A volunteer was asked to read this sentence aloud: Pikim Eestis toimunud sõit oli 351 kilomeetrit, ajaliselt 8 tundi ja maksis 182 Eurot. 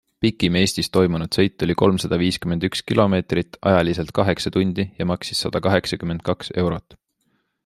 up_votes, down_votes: 0, 2